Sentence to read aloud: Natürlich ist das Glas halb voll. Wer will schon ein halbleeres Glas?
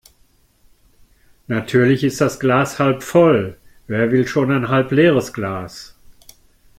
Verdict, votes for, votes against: accepted, 2, 0